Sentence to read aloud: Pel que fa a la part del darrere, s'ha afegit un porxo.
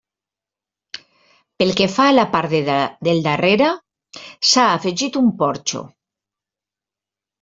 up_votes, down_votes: 0, 2